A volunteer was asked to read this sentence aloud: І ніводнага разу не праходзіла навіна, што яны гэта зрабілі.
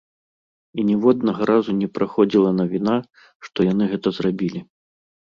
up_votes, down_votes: 2, 0